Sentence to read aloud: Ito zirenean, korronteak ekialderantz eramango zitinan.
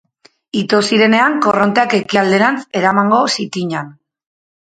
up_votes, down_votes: 2, 0